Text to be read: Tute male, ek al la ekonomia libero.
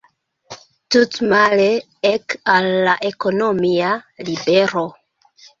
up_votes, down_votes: 0, 2